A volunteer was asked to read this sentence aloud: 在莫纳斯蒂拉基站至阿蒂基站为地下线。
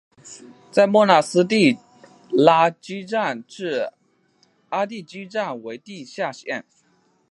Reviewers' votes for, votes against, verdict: 1, 2, rejected